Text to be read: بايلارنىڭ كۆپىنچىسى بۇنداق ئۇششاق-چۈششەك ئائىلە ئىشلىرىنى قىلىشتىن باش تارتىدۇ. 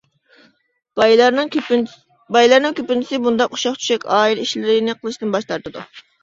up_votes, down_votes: 0, 2